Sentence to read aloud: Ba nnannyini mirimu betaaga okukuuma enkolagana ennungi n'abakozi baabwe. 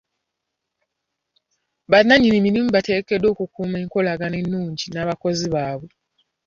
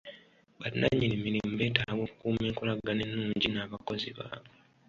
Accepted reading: second